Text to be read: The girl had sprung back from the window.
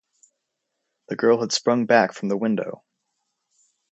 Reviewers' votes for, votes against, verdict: 4, 0, accepted